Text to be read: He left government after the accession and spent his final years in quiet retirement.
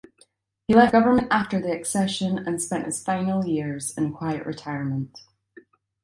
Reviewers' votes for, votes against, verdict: 3, 0, accepted